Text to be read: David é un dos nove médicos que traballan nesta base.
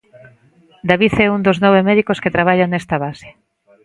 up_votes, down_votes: 2, 0